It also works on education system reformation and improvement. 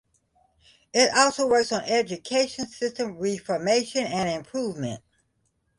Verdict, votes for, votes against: accepted, 2, 0